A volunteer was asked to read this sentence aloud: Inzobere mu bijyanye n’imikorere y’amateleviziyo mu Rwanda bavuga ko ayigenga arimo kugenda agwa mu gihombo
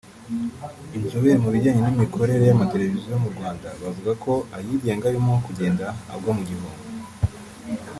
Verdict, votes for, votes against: rejected, 0, 2